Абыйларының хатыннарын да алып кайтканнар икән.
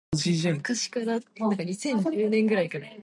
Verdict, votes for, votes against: rejected, 0, 2